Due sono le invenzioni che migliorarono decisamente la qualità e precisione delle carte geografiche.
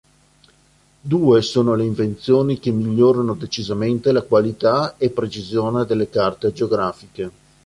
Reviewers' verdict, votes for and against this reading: rejected, 1, 3